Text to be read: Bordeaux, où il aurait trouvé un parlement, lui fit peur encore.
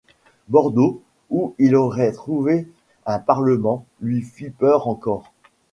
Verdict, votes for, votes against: accepted, 2, 0